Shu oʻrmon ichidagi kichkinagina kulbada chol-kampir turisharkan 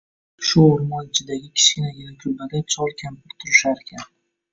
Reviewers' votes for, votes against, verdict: 2, 0, accepted